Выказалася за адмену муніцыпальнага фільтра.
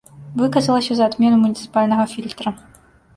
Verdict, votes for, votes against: rejected, 0, 2